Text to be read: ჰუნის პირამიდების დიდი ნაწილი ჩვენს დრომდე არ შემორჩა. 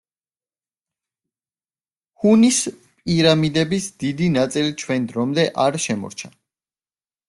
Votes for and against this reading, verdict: 2, 0, accepted